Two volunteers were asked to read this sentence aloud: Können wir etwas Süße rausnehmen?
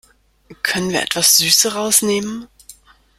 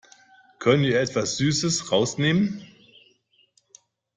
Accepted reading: first